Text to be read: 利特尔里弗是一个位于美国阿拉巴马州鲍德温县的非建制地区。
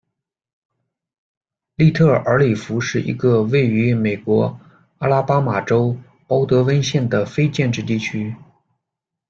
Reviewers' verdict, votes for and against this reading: accepted, 2, 0